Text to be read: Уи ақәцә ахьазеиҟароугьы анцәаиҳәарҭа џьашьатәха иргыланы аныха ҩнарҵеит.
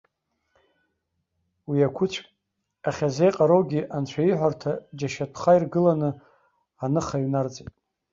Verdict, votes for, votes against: rejected, 1, 2